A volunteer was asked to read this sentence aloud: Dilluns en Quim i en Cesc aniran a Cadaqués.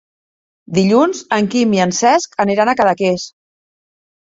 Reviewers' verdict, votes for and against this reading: accepted, 3, 0